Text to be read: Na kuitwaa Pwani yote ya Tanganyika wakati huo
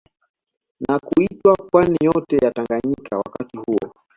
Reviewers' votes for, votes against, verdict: 2, 0, accepted